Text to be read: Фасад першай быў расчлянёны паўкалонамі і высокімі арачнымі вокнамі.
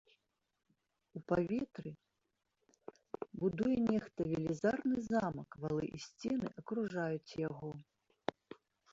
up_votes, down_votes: 0, 2